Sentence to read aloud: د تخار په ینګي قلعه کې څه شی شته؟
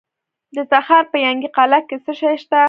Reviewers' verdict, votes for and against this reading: rejected, 1, 2